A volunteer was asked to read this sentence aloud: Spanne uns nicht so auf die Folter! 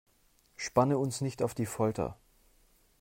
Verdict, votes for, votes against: rejected, 0, 2